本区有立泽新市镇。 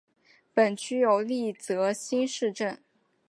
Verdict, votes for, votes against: accepted, 4, 0